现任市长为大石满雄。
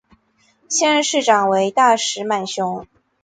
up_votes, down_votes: 2, 0